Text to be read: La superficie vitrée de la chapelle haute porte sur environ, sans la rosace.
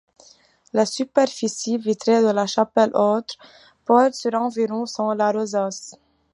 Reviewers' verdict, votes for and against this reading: accepted, 2, 1